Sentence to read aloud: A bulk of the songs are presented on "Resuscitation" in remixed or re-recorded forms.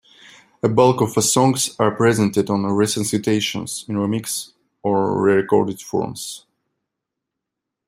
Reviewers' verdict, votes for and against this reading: rejected, 1, 2